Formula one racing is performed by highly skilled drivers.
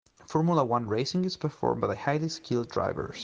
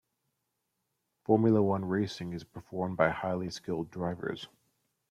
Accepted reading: second